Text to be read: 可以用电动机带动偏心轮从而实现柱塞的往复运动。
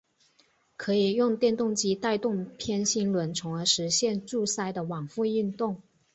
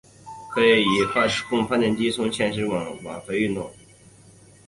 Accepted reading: first